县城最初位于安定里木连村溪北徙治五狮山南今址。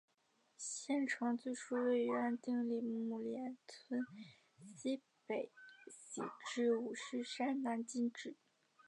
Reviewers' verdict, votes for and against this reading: rejected, 1, 4